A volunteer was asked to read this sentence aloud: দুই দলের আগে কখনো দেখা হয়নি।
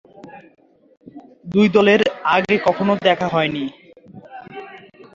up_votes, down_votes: 2, 0